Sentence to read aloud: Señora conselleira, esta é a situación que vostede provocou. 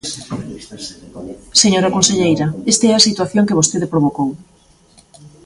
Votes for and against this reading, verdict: 0, 2, rejected